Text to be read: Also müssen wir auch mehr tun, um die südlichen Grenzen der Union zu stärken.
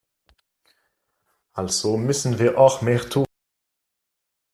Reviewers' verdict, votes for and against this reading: rejected, 0, 2